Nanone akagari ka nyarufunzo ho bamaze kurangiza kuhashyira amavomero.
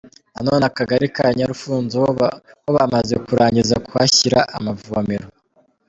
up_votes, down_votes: 2, 0